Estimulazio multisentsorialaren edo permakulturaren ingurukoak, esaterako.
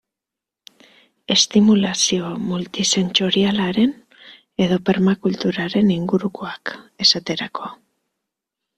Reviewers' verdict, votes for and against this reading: accepted, 3, 0